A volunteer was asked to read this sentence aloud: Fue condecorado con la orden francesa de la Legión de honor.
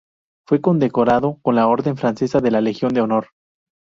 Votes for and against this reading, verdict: 2, 0, accepted